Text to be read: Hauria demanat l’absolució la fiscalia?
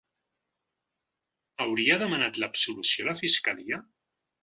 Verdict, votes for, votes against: accepted, 3, 1